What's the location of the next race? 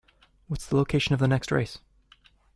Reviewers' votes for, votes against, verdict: 2, 0, accepted